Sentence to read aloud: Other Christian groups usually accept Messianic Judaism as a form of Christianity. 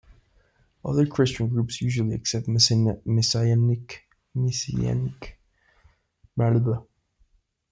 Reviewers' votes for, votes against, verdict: 0, 2, rejected